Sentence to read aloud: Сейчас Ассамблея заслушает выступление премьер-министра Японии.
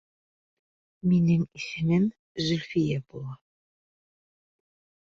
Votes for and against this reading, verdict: 0, 2, rejected